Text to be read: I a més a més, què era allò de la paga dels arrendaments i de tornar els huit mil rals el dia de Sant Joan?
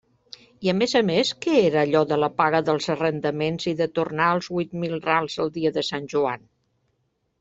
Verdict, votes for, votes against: accepted, 2, 0